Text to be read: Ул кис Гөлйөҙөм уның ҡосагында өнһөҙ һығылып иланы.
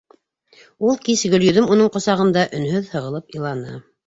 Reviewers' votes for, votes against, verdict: 2, 1, accepted